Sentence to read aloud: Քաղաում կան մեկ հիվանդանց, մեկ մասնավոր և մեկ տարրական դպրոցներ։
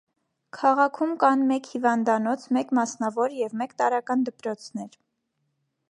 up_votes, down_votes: 1, 2